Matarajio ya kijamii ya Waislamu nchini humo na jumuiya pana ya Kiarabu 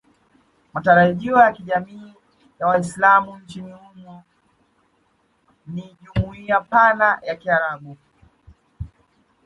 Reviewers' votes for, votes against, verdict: 1, 2, rejected